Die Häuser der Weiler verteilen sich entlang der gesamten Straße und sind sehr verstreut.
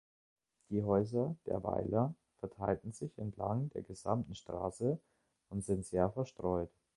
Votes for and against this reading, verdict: 0, 2, rejected